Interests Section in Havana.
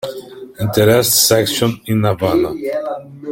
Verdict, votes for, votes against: rejected, 0, 2